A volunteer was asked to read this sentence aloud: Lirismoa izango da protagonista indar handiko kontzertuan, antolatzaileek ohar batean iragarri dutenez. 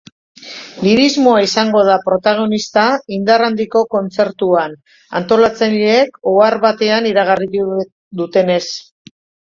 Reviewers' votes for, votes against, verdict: 0, 2, rejected